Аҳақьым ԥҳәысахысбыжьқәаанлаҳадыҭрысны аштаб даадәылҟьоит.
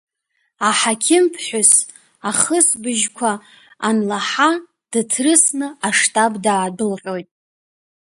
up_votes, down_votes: 0, 2